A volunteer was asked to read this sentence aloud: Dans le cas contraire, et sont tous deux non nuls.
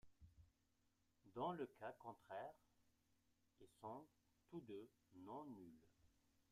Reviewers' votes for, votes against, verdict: 0, 2, rejected